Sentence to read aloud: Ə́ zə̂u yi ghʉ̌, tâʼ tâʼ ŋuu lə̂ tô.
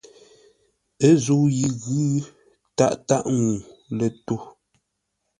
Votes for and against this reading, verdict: 2, 0, accepted